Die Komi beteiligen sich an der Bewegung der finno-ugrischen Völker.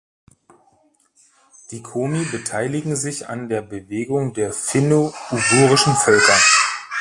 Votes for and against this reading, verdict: 0, 2, rejected